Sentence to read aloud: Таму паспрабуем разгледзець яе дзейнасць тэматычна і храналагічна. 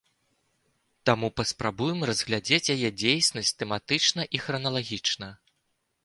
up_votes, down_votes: 0, 2